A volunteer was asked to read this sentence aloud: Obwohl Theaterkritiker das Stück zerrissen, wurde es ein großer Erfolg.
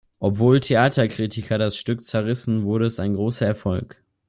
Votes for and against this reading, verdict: 2, 0, accepted